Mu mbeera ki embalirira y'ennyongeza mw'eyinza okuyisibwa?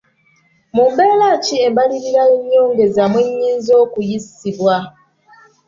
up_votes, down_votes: 1, 2